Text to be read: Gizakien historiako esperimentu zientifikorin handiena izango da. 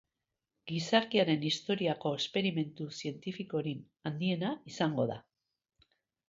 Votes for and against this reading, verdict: 0, 2, rejected